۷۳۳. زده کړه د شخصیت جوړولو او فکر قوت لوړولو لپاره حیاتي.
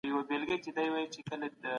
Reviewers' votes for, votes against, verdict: 0, 2, rejected